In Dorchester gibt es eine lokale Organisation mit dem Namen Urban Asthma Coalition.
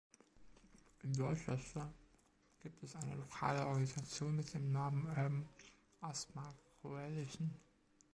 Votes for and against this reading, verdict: 0, 2, rejected